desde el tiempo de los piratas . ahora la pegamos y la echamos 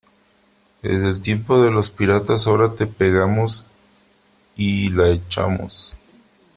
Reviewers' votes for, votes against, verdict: 0, 3, rejected